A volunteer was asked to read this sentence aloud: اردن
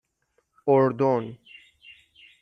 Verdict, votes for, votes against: accepted, 6, 0